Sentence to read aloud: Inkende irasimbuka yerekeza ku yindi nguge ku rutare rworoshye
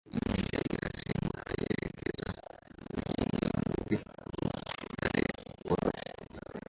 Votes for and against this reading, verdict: 0, 2, rejected